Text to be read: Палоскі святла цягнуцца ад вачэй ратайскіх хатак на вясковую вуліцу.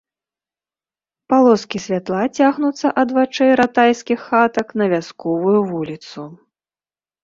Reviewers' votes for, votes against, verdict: 2, 0, accepted